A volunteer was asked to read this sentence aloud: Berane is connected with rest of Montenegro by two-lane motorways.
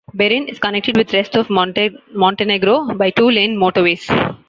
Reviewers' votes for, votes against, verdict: 2, 0, accepted